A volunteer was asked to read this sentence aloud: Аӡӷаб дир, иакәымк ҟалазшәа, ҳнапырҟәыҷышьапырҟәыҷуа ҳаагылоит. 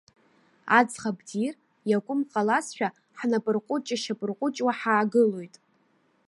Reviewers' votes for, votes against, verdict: 2, 0, accepted